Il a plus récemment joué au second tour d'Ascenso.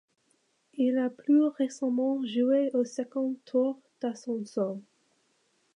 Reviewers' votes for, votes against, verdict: 2, 1, accepted